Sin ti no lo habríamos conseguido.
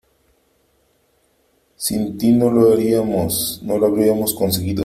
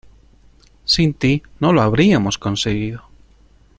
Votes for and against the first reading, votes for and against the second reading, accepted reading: 0, 3, 2, 0, second